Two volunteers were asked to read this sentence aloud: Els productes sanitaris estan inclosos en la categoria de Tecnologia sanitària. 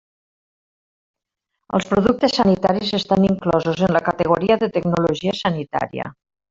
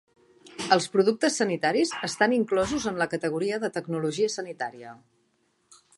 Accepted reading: second